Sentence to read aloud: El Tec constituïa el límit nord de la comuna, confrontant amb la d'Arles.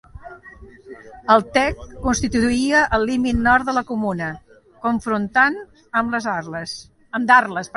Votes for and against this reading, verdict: 0, 2, rejected